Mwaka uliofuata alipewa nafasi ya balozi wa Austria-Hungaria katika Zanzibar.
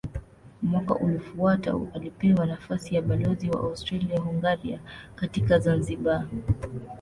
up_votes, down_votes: 2, 0